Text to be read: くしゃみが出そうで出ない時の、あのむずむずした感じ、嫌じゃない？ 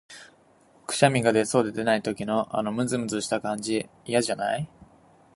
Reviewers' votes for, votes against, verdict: 2, 1, accepted